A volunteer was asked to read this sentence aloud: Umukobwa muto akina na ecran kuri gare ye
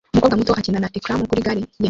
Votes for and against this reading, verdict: 0, 2, rejected